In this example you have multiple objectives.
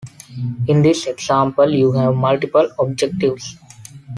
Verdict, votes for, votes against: accepted, 2, 0